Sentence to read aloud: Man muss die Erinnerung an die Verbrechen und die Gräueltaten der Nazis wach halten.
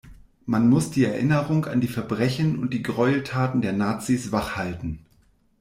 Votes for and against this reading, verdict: 2, 0, accepted